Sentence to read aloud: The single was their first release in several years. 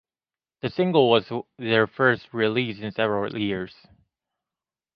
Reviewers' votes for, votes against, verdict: 0, 2, rejected